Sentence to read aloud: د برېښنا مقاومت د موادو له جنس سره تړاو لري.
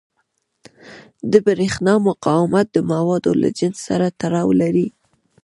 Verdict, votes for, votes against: accepted, 2, 0